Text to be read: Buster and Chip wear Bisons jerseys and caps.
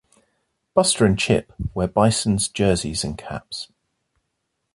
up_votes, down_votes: 2, 1